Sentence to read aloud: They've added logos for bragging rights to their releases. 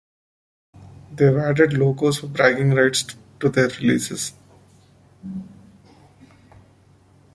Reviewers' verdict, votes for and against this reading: accepted, 2, 1